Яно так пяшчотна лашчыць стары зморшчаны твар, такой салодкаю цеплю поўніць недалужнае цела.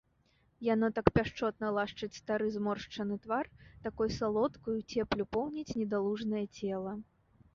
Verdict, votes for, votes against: accepted, 2, 0